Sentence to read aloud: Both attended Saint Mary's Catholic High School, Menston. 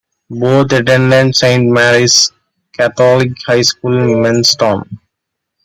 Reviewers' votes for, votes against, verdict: 0, 2, rejected